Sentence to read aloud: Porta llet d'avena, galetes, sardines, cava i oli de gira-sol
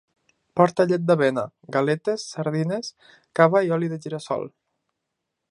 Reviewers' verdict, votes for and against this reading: accepted, 2, 0